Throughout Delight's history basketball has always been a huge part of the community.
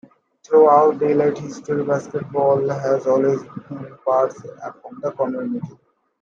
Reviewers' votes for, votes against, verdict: 0, 2, rejected